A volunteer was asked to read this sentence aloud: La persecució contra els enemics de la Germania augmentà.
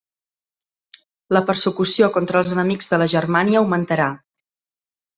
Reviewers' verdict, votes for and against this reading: rejected, 1, 2